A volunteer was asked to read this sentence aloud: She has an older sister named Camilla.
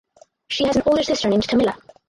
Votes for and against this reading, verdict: 4, 8, rejected